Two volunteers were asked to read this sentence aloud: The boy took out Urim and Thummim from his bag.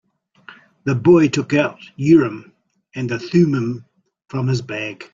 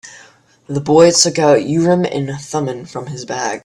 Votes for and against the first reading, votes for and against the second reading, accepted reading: 0, 2, 4, 0, second